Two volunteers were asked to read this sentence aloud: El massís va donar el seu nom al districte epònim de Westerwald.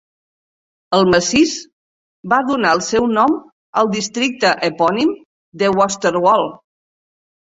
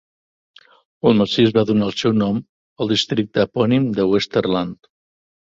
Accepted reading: first